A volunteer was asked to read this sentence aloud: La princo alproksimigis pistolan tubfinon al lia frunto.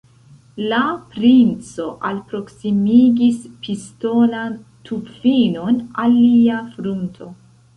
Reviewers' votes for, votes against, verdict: 1, 2, rejected